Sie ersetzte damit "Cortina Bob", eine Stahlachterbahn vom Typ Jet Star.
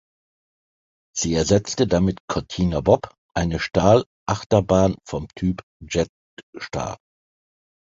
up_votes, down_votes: 1, 2